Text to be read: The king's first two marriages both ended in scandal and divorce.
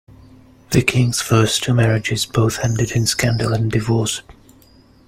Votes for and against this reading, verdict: 0, 2, rejected